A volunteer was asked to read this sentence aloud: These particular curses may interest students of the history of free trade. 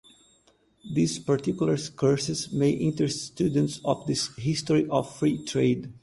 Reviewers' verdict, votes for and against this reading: accepted, 2, 0